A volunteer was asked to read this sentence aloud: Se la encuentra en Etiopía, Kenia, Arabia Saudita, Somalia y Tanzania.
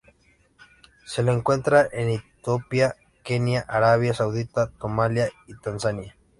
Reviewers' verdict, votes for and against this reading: rejected, 1, 2